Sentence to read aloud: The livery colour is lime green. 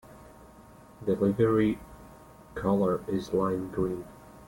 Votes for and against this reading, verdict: 2, 1, accepted